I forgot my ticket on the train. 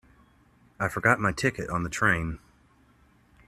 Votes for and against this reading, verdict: 2, 0, accepted